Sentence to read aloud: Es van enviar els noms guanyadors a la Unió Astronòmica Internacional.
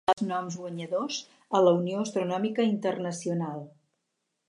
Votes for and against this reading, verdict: 0, 4, rejected